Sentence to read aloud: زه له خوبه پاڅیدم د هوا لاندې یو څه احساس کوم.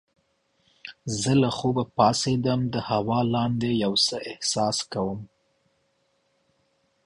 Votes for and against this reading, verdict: 2, 0, accepted